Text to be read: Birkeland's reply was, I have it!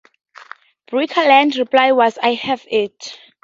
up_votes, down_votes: 2, 0